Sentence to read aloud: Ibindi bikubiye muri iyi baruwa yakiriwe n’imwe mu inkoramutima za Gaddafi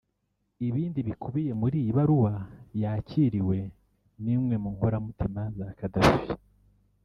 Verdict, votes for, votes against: accepted, 3, 1